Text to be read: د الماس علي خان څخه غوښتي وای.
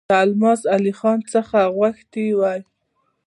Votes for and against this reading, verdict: 2, 0, accepted